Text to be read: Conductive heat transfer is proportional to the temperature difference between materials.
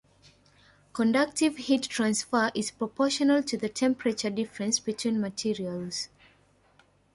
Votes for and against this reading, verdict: 2, 0, accepted